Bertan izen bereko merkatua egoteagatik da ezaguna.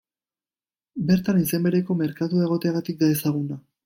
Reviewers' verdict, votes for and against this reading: accepted, 2, 0